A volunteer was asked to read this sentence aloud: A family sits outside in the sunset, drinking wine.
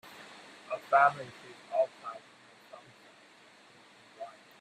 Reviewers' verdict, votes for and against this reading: rejected, 1, 2